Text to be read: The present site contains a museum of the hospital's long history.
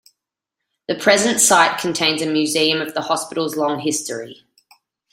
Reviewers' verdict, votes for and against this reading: accepted, 2, 1